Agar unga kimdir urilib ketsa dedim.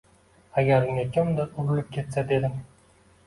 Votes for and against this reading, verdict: 2, 1, accepted